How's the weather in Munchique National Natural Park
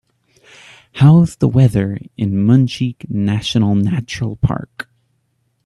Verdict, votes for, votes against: accepted, 2, 0